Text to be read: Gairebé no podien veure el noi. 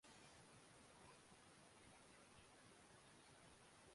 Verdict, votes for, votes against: rejected, 0, 2